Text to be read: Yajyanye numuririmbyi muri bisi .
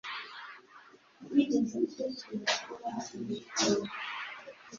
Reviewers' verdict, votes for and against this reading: rejected, 0, 2